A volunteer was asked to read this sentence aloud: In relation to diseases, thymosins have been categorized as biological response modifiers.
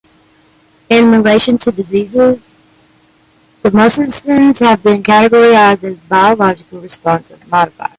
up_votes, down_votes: 0, 2